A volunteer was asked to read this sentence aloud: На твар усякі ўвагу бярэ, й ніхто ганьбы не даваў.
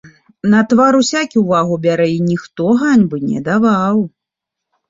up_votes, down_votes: 2, 0